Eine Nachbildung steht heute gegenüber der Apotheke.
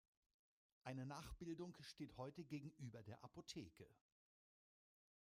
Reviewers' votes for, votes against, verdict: 2, 0, accepted